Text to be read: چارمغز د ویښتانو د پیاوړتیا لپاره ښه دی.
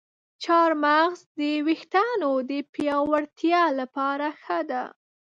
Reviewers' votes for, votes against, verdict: 2, 0, accepted